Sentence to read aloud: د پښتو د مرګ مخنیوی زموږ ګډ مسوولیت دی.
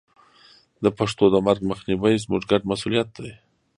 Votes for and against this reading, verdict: 2, 0, accepted